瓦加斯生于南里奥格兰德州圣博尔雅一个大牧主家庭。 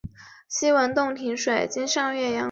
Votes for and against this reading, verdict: 1, 2, rejected